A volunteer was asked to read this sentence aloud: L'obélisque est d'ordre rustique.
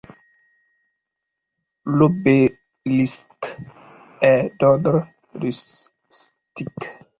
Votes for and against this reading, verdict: 1, 2, rejected